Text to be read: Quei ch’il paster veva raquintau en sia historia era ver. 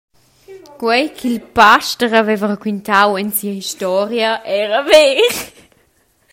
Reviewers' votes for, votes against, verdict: 0, 2, rejected